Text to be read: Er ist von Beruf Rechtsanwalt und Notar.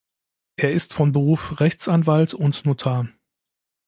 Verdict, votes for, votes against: accepted, 2, 0